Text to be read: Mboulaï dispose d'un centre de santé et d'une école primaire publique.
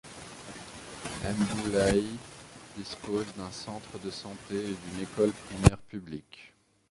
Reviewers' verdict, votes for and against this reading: rejected, 1, 2